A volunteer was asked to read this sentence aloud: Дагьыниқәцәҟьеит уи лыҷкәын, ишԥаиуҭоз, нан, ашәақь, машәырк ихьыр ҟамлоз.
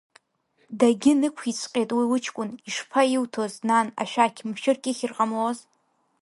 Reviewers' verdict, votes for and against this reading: rejected, 1, 2